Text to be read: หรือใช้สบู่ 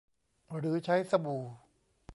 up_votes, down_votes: 2, 0